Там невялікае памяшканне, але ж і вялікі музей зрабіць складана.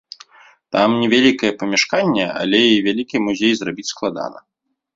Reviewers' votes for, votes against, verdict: 1, 2, rejected